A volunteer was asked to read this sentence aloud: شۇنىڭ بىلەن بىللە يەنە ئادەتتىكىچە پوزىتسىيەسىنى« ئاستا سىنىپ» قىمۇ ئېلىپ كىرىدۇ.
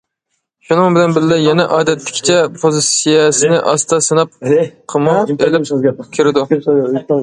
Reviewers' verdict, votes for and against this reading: rejected, 0, 2